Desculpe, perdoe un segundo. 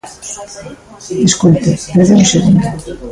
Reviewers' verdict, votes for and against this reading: rejected, 0, 2